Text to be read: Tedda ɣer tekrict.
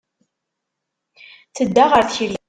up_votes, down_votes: 0, 3